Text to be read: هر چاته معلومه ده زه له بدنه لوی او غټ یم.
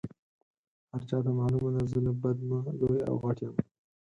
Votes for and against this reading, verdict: 0, 4, rejected